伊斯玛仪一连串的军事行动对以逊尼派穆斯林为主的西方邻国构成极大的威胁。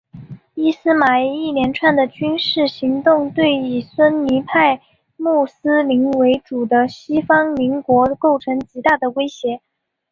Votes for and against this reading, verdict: 4, 0, accepted